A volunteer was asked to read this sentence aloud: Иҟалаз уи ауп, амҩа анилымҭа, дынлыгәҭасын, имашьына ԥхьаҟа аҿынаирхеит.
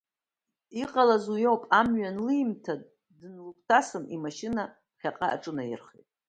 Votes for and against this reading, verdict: 1, 2, rejected